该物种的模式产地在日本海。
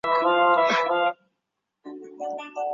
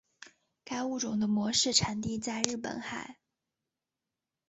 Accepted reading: second